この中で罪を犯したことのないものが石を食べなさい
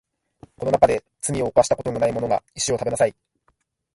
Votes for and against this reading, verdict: 3, 0, accepted